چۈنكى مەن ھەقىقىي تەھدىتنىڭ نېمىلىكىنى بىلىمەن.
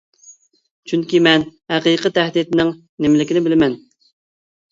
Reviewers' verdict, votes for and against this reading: accepted, 3, 0